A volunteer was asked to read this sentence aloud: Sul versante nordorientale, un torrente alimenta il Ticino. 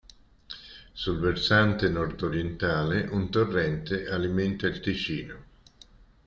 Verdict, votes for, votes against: accepted, 2, 0